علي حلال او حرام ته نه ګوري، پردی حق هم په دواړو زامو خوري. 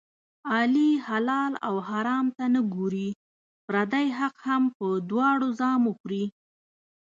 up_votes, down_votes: 2, 0